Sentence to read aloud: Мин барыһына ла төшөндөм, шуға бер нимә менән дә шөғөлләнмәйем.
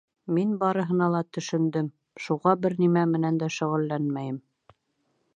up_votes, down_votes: 1, 2